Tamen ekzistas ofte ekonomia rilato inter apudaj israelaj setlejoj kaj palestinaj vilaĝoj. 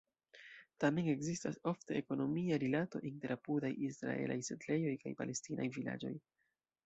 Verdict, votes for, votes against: rejected, 1, 2